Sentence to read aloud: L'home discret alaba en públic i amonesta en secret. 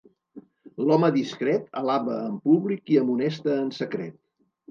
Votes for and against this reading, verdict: 2, 0, accepted